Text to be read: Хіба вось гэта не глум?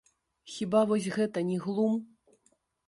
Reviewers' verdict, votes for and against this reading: rejected, 1, 2